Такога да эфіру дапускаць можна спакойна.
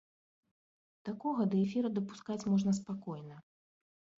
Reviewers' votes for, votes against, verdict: 2, 0, accepted